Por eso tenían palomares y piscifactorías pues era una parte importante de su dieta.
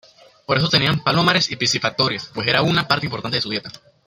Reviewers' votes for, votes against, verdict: 1, 2, rejected